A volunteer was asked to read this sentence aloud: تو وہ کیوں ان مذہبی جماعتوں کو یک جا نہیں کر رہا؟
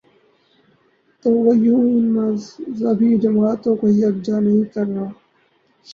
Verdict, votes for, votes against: rejected, 0, 4